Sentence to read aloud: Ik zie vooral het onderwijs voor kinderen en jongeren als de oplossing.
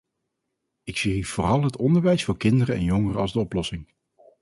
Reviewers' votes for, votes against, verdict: 2, 2, rejected